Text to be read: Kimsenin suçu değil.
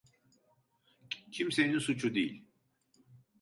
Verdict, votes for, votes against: accepted, 2, 0